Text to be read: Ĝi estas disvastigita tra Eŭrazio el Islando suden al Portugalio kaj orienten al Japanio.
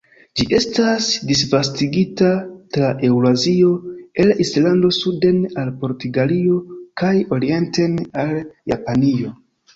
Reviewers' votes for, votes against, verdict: 2, 0, accepted